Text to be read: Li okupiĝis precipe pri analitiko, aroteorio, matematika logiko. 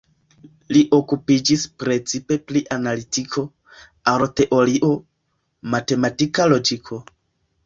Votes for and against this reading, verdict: 2, 1, accepted